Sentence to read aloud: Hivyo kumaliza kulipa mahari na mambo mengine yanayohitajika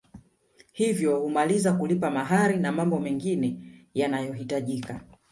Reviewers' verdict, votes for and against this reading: accepted, 3, 2